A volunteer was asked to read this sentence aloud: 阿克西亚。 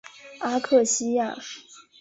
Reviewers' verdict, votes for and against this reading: accepted, 3, 0